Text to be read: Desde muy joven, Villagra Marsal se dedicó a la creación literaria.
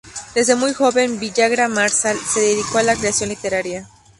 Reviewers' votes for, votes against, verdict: 2, 0, accepted